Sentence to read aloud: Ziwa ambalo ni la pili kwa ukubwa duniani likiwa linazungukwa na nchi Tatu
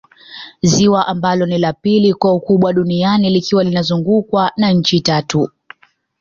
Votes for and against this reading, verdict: 2, 1, accepted